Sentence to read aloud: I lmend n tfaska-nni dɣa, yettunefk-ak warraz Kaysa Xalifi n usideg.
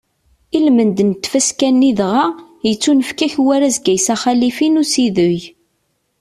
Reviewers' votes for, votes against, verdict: 2, 0, accepted